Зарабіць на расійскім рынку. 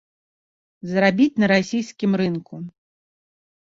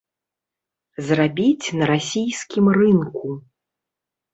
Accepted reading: first